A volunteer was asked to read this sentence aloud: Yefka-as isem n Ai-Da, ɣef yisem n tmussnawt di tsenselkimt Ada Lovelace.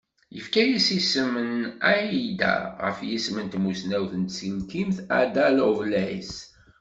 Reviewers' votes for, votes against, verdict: 1, 2, rejected